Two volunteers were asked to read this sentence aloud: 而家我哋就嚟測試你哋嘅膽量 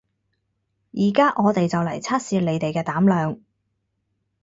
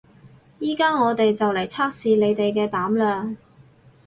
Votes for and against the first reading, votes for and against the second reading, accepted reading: 4, 0, 2, 6, first